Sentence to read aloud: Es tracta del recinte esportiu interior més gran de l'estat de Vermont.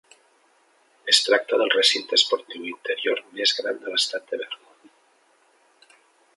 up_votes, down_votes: 3, 0